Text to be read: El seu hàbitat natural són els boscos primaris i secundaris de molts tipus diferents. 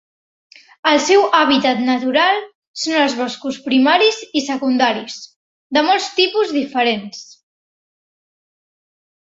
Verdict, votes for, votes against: accepted, 4, 1